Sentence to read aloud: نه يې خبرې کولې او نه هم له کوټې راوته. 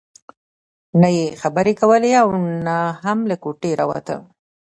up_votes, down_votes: 0, 2